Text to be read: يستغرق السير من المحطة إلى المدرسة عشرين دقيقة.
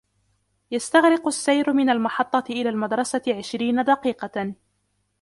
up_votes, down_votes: 2, 1